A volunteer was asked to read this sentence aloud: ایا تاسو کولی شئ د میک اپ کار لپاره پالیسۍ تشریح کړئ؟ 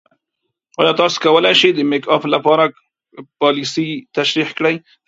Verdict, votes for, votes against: accepted, 2, 0